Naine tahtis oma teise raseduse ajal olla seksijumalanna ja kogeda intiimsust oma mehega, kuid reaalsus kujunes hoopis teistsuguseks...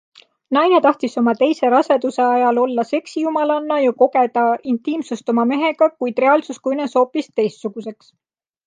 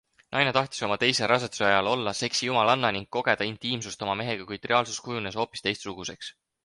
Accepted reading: first